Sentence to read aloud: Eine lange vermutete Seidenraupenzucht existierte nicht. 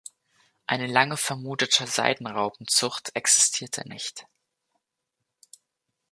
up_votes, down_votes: 2, 0